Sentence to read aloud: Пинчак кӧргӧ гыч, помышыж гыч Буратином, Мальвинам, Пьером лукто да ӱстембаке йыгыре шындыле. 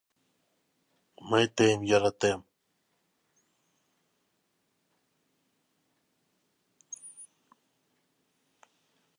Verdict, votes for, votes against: rejected, 0, 2